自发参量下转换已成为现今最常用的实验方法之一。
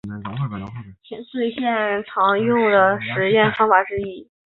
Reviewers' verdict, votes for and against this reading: rejected, 0, 3